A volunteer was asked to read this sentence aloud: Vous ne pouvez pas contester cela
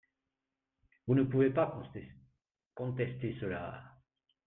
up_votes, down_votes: 0, 2